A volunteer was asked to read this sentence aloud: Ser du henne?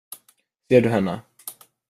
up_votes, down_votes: 1, 2